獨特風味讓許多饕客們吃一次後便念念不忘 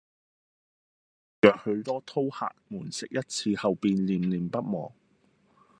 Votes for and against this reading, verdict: 0, 2, rejected